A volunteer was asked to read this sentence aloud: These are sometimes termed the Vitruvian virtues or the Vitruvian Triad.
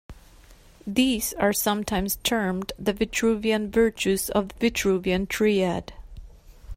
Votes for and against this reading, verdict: 0, 2, rejected